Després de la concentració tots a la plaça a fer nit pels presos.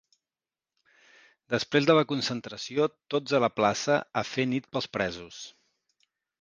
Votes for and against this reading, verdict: 2, 0, accepted